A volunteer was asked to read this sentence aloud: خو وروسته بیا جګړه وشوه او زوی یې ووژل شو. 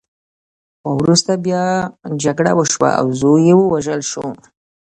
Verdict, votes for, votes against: accepted, 2, 0